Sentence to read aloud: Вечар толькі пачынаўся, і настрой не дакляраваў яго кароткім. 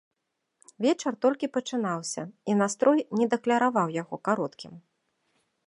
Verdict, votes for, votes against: accepted, 2, 0